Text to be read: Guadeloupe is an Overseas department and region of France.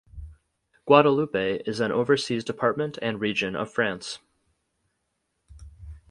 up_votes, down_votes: 6, 0